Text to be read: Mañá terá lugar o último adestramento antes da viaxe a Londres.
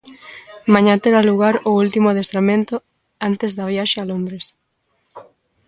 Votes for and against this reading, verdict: 2, 0, accepted